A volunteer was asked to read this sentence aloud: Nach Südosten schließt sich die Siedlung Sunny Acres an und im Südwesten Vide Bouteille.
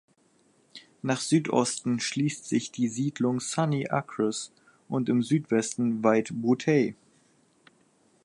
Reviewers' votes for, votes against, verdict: 2, 4, rejected